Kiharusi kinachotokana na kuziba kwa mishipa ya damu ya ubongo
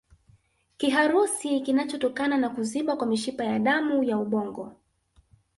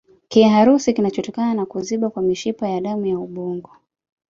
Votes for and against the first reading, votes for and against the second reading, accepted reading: 2, 0, 1, 2, first